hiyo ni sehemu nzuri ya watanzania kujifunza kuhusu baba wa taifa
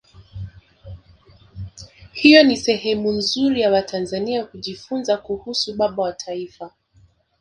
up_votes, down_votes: 2, 1